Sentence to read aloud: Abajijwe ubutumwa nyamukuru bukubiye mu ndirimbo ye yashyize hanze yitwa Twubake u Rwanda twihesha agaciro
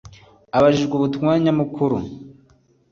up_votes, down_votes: 1, 2